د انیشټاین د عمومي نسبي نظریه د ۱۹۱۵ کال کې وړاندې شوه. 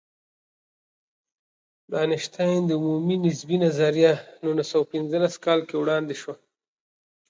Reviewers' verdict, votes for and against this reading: rejected, 0, 2